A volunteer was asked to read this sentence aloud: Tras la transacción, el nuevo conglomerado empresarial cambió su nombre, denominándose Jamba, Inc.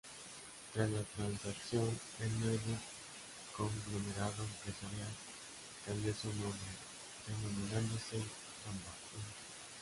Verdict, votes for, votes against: rejected, 0, 2